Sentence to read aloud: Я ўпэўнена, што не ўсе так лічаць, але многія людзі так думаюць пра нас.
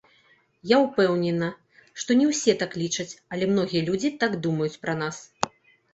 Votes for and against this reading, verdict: 2, 0, accepted